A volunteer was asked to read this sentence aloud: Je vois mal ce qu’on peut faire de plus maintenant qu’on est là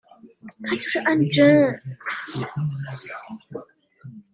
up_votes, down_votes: 0, 2